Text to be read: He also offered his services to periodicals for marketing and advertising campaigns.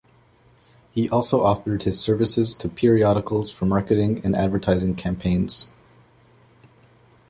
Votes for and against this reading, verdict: 2, 0, accepted